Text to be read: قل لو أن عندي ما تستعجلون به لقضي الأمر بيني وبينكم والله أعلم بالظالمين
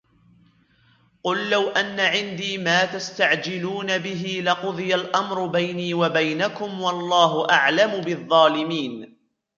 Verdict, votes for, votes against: accepted, 2, 0